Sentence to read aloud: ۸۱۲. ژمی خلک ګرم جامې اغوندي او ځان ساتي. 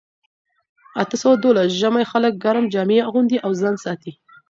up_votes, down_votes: 0, 2